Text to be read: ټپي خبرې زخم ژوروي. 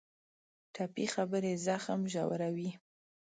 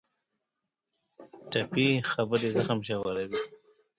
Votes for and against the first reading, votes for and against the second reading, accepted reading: 2, 0, 1, 2, first